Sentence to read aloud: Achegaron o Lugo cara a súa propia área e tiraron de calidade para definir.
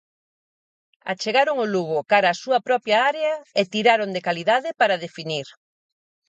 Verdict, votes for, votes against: accepted, 4, 0